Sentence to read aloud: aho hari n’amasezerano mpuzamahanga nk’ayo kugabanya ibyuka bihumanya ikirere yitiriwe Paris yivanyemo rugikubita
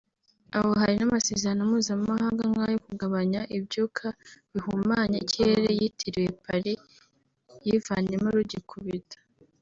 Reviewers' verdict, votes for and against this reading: accepted, 2, 0